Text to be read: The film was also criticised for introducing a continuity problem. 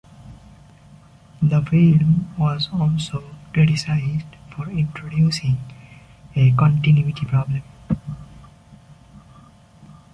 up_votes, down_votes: 2, 0